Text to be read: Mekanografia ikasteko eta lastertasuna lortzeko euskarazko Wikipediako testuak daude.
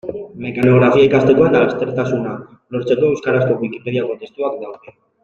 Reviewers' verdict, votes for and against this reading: rejected, 2, 3